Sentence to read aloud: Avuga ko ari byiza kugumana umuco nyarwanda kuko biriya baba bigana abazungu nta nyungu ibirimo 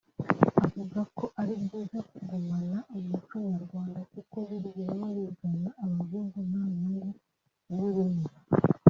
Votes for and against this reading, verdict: 2, 0, accepted